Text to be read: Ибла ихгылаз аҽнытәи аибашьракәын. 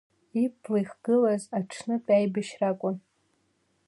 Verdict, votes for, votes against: accepted, 2, 0